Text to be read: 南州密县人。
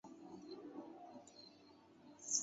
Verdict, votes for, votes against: rejected, 1, 2